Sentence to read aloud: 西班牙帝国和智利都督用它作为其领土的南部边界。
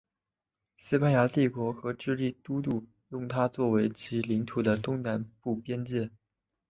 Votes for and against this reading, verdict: 0, 2, rejected